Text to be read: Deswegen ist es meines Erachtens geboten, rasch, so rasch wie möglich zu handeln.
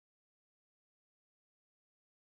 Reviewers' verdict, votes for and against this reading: rejected, 0, 2